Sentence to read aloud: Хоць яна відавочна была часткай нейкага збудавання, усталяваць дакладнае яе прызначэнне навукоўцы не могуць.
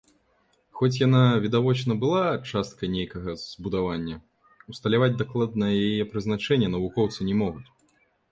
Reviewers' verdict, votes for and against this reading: accepted, 2, 0